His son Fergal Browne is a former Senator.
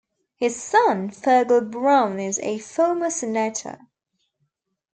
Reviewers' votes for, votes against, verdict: 1, 2, rejected